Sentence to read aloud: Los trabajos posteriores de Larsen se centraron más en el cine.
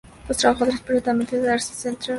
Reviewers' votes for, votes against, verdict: 0, 2, rejected